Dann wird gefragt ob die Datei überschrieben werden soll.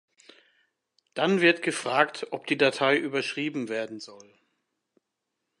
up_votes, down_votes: 2, 0